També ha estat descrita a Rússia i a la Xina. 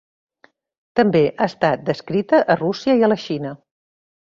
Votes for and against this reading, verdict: 2, 0, accepted